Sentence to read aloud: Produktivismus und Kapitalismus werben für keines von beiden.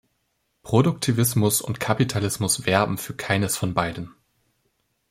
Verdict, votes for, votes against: accepted, 2, 0